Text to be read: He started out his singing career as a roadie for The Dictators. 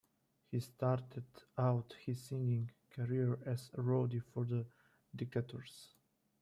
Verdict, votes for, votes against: rejected, 0, 2